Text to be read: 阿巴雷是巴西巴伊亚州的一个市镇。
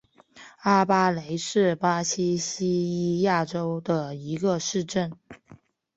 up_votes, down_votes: 2, 0